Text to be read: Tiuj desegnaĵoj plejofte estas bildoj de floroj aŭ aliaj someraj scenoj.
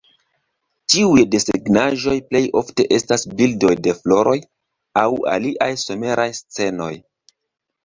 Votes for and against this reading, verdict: 1, 2, rejected